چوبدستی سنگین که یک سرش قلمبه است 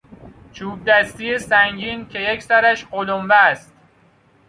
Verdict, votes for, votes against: accepted, 2, 0